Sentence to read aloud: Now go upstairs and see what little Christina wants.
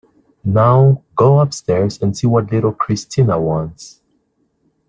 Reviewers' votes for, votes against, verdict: 2, 0, accepted